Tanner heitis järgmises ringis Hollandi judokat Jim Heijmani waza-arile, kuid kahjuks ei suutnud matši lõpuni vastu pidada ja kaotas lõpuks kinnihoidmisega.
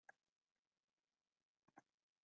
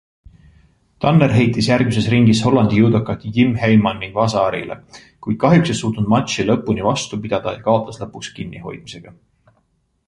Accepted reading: second